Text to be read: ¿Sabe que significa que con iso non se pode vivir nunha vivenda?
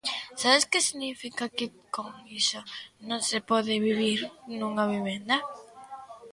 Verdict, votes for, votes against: rejected, 0, 2